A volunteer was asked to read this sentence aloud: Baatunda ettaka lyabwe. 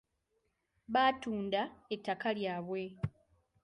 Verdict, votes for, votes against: accepted, 2, 0